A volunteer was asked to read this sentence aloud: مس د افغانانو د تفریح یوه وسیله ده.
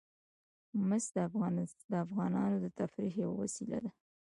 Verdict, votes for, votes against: accepted, 2, 0